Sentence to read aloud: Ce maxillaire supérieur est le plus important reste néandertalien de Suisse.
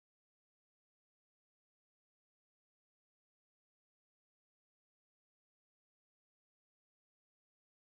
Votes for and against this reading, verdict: 0, 2, rejected